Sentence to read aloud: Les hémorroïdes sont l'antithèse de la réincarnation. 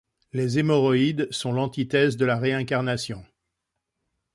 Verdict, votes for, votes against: accepted, 2, 0